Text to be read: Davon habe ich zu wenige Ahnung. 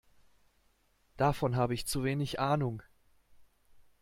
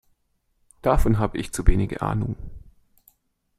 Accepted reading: second